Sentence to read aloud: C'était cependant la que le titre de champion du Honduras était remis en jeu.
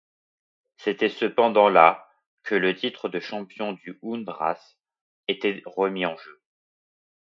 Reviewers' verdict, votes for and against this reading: rejected, 0, 2